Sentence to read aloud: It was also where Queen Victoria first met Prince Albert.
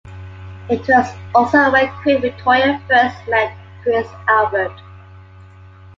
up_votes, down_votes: 2, 1